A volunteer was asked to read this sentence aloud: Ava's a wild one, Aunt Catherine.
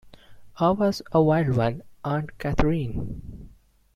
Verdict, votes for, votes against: accepted, 2, 1